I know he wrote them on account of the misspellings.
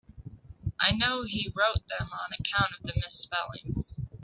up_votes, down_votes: 4, 2